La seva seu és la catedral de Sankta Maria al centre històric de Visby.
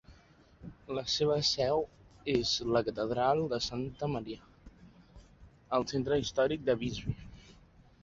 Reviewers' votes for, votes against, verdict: 3, 0, accepted